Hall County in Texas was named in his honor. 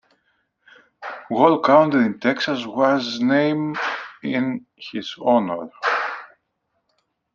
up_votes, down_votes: 1, 2